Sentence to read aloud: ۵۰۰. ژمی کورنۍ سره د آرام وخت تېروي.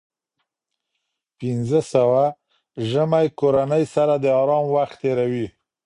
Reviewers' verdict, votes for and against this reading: rejected, 0, 2